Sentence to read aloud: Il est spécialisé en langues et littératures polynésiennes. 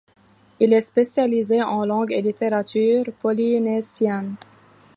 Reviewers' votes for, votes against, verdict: 0, 2, rejected